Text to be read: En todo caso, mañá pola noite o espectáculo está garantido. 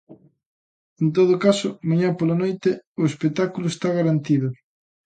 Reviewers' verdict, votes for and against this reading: accepted, 2, 0